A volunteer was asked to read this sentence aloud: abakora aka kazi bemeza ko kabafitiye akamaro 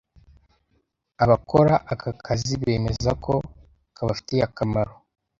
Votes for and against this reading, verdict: 2, 0, accepted